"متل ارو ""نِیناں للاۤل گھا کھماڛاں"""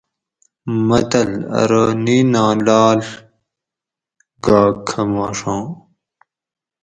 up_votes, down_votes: 0, 2